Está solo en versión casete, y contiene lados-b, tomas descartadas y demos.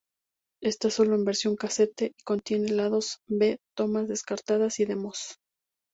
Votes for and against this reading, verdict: 0, 2, rejected